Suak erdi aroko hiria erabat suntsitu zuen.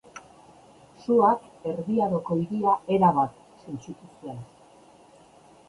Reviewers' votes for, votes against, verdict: 2, 0, accepted